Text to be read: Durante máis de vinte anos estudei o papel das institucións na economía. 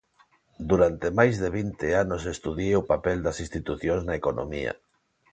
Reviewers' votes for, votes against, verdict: 0, 2, rejected